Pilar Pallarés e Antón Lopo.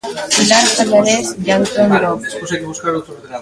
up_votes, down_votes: 0, 2